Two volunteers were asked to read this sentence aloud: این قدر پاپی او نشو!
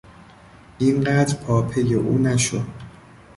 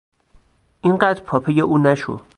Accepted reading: first